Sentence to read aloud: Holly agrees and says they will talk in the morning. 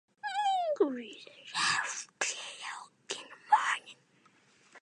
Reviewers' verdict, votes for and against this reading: rejected, 0, 2